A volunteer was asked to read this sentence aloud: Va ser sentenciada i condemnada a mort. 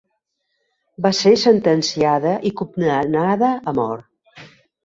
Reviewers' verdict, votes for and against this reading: rejected, 1, 2